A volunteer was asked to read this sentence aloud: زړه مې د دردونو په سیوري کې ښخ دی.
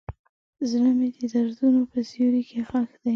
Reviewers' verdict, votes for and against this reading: accepted, 2, 0